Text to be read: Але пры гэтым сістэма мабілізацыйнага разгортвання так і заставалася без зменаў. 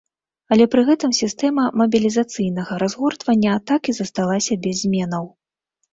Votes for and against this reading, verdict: 1, 2, rejected